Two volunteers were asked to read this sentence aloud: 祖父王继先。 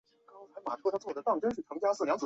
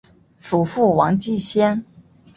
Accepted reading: second